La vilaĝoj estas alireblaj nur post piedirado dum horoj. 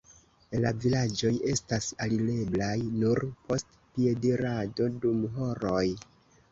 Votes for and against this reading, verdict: 1, 2, rejected